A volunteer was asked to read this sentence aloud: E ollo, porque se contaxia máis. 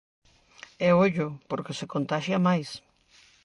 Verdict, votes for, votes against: accepted, 2, 0